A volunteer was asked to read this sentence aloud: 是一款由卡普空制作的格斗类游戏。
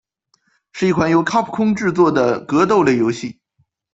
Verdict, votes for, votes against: accepted, 4, 0